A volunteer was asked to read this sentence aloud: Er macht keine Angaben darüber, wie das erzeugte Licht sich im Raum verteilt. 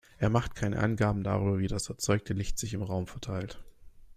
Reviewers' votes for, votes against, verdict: 2, 0, accepted